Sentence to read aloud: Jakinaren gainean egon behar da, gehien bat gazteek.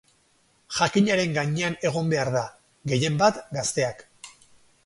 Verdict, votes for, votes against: rejected, 2, 4